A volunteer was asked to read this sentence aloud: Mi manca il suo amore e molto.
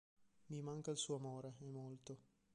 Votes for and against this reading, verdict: 0, 2, rejected